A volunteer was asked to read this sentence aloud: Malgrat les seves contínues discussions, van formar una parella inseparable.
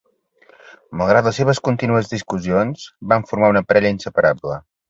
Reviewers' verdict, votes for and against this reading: accepted, 2, 0